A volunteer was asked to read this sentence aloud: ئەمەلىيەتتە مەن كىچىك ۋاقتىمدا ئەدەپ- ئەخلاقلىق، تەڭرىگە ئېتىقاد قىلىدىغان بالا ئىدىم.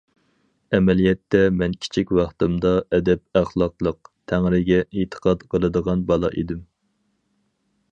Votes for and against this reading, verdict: 4, 0, accepted